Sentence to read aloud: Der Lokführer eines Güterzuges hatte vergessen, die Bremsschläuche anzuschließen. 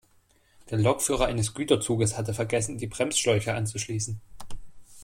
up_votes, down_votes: 2, 0